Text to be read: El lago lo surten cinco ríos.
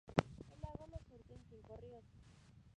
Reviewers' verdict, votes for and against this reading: rejected, 0, 2